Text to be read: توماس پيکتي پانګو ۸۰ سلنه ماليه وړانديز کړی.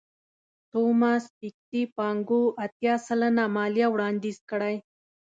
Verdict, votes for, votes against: rejected, 0, 2